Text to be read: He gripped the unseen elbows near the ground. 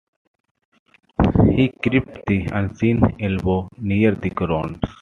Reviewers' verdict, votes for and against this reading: rejected, 0, 2